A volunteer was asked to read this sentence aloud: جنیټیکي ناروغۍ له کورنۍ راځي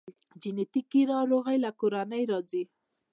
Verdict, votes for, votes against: accepted, 2, 1